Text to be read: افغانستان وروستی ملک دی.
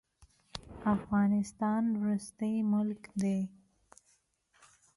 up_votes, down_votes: 2, 0